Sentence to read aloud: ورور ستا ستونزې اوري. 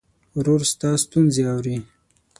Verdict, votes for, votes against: accepted, 6, 0